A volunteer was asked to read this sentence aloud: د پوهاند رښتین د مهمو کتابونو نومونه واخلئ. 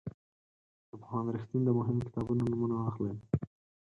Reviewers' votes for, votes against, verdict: 2, 4, rejected